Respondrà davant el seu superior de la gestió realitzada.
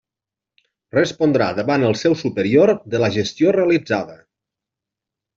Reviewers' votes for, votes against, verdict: 3, 0, accepted